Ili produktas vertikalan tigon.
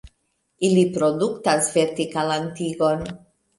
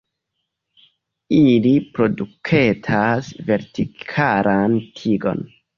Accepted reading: first